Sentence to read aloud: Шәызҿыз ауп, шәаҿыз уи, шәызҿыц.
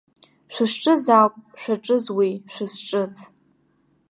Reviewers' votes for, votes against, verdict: 2, 0, accepted